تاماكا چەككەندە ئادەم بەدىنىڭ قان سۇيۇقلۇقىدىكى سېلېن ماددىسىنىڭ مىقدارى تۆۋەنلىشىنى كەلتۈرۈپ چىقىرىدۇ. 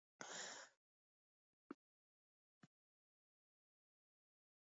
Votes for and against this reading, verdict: 0, 2, rejected